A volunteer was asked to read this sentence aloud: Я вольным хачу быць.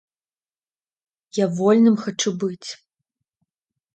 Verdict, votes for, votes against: accepted, 2, 0